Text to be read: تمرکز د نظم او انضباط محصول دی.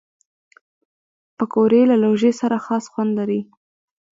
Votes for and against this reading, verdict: 1, 2, rejected